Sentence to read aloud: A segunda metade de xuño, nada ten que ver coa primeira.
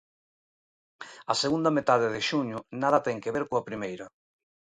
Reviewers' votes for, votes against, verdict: 2, 0, accepted